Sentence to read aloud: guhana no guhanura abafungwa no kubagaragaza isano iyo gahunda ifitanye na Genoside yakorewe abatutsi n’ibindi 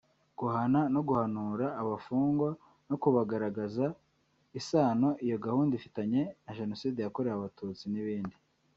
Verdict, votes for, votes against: rejected, 0, 2